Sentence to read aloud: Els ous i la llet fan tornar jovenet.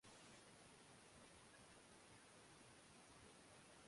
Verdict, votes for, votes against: accepted, 2, 0